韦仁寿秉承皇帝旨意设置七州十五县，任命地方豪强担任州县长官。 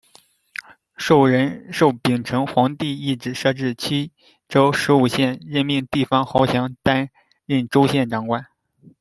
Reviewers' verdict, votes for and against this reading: rejected, 0, 2